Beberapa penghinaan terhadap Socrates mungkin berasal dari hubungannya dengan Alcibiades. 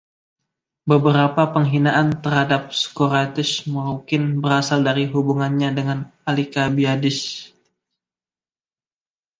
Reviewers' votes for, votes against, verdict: 1, 2, rejected